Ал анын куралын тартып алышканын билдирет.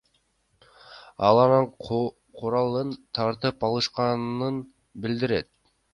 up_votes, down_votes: 0, 2